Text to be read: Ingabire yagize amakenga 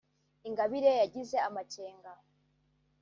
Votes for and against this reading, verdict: 1, 2, rejected